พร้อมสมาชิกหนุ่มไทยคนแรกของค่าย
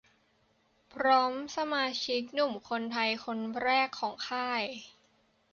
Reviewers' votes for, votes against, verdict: 0, 2, rejected